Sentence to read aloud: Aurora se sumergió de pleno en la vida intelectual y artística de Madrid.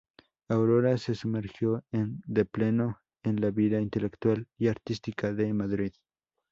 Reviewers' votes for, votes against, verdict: 0, 2, rejected